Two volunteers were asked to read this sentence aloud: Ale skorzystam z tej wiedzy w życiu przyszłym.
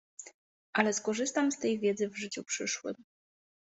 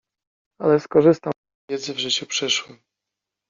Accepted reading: first